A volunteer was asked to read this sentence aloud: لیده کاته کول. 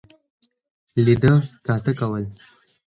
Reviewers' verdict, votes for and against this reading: accepted, 4, 0